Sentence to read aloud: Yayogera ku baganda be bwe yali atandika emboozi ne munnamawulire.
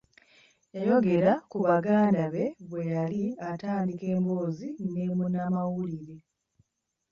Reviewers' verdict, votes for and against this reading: accepted, 2, 0